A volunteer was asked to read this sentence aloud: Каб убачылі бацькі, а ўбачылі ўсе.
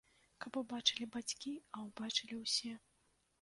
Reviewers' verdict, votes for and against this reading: accepted, 2, 0